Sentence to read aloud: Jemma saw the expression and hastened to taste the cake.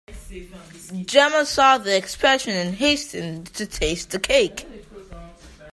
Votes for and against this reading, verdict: 0, 2, rejected